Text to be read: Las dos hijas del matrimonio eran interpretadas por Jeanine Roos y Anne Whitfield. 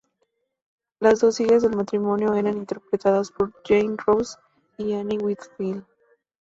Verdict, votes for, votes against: accepted, 2, 0